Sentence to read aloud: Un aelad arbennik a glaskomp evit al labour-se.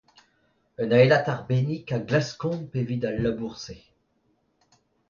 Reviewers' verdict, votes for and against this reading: accepted, 2, 0